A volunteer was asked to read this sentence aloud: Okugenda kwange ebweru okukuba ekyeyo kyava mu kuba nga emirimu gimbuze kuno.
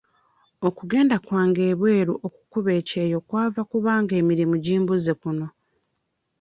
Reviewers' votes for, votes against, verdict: 1, 2, rejected